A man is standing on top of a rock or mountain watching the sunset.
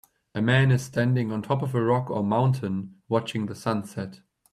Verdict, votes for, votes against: accepted, 2, 0